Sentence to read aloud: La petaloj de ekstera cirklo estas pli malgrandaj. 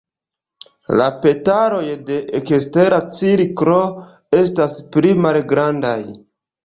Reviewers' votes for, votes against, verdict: 2, 0, accepted